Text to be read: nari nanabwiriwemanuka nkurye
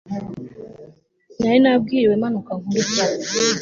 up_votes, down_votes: 3, 0